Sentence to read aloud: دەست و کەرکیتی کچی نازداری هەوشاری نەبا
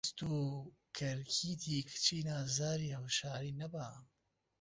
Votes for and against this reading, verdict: 2, 0, accepted